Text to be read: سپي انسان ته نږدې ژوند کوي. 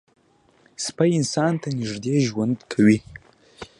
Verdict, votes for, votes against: accepted, 2, 0